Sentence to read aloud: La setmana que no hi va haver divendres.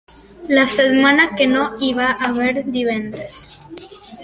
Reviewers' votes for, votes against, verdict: 2, 0, accepted